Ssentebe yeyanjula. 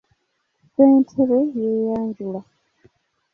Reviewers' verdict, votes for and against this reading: accepted, 2, 0